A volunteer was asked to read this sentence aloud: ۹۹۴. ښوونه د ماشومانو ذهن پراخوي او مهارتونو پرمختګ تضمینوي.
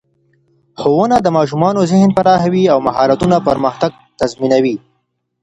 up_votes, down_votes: 0, 2